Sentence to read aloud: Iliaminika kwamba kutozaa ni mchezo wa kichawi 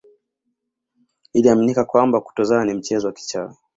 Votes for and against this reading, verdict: 2, 0, accepted